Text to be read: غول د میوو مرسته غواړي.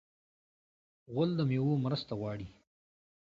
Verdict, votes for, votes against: accepted, 2, 0